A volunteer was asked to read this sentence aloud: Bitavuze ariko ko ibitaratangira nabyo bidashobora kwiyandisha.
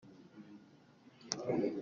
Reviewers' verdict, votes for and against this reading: rejected, 1, 2